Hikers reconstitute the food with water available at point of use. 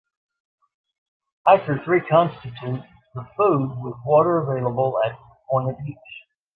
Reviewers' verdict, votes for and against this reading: rejected, 1, 2